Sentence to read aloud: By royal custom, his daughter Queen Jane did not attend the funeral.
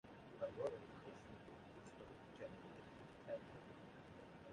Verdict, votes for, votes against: rejected, 0, 2